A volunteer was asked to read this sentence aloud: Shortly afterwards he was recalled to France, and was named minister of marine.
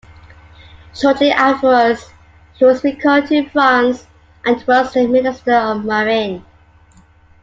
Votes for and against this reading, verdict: 0, 2, rejected